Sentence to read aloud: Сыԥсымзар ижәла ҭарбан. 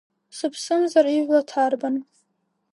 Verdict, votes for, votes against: rejected, 1, 2